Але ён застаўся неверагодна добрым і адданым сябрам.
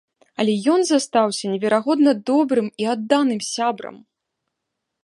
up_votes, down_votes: 2, 0